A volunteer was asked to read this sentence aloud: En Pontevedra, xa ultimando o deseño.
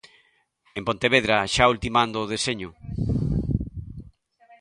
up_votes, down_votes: 1, 2